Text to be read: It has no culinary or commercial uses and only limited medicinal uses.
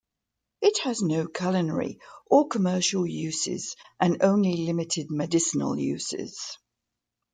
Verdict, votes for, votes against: accepted, 2, 0